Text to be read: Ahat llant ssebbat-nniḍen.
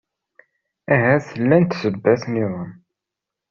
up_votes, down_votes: 2, 0